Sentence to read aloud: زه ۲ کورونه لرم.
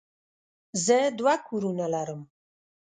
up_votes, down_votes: 0, 2